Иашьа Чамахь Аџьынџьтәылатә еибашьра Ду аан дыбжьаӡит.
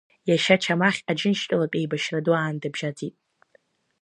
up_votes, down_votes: 2, 0